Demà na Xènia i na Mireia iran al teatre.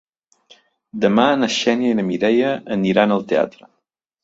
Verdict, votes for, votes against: rejected, 0, 2